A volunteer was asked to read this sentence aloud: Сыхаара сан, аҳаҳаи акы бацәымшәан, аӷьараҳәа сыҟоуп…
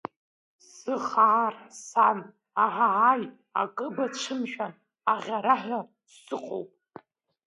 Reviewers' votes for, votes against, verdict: 0, 2, rejected